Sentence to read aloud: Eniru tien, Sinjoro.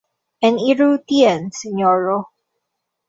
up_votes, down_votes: 1, 2